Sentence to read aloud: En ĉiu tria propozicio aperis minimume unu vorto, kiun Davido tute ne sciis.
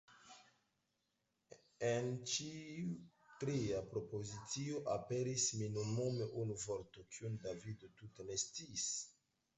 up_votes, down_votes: 2, 0